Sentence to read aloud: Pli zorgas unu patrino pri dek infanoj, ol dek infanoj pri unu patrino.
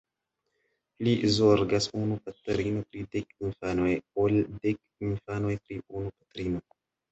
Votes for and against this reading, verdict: 1, 2, rejected